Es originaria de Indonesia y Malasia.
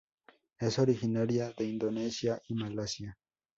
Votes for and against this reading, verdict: 2, 0, accepted